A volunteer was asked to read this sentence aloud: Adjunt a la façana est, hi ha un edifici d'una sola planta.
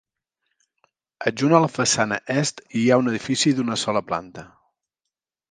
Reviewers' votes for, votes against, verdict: 2, 0, accepted